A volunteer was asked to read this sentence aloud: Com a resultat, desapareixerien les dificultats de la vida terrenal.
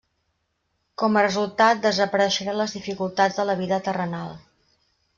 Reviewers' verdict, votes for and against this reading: rejected, 1, 2